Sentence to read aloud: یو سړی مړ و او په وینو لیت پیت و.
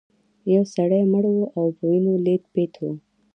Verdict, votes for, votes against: accepted, 2, 0